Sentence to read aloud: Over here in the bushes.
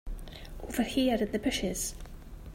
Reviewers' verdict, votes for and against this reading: accepted, 2, 1